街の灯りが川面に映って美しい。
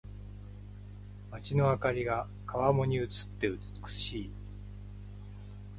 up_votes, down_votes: 2, 0